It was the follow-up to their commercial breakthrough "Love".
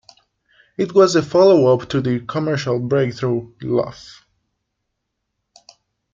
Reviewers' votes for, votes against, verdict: 0, 2, rejected